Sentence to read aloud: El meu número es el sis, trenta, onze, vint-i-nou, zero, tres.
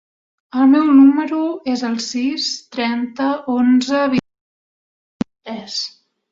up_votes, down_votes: 0, 3